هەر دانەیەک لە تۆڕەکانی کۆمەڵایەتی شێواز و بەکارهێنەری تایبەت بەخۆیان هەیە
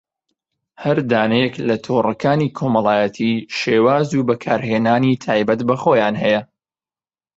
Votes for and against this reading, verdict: 3, 2, accepted